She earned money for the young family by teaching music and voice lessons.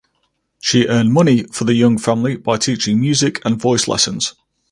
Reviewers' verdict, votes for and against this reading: accepted, 4, 0